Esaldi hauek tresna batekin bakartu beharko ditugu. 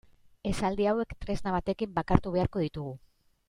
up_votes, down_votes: 2, 2